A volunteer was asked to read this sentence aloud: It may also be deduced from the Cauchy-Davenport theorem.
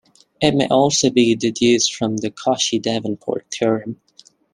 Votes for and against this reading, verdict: 2, 0, accepted